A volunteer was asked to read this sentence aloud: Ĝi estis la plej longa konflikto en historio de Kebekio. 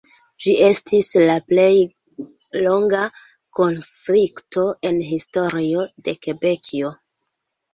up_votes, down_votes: 0, 2